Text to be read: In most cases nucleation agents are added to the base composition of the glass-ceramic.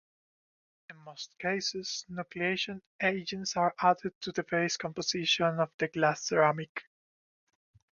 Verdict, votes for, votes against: accepted, 2, 0